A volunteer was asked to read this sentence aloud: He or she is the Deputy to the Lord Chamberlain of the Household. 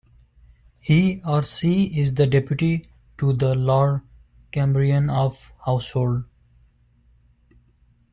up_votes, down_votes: 1, 3